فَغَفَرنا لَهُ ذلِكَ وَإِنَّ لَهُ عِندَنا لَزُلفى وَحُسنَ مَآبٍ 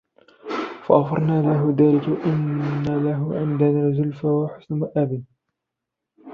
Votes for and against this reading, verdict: 0, 2, rejected